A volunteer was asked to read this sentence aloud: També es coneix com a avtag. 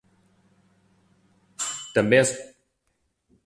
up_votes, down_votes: 0, 2